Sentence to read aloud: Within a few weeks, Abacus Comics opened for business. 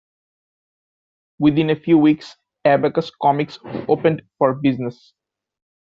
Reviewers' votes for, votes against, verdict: 2, 0, accepted